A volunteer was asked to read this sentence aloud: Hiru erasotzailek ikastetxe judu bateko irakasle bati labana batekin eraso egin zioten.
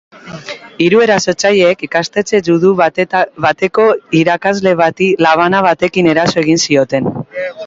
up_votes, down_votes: 0, 2